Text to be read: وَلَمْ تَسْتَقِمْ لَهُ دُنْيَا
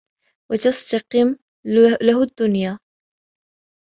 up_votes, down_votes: 0, 2